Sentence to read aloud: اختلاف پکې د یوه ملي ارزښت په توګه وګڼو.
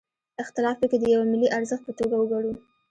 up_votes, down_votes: 1, 2